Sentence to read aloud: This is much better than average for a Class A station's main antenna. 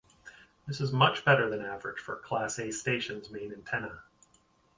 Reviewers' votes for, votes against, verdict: 4, 0, accepted